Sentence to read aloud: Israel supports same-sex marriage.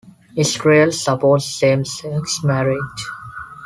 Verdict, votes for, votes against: accepted, 2, 0